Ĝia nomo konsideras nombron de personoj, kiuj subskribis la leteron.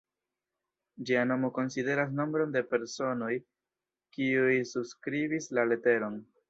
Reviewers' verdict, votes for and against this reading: rejected, 0, 2